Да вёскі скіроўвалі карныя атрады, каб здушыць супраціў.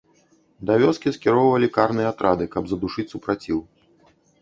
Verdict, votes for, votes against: rejected, 0, 2